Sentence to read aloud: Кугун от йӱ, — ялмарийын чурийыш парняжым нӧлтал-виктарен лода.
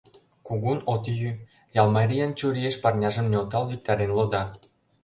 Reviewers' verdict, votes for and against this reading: accepted, 2, 0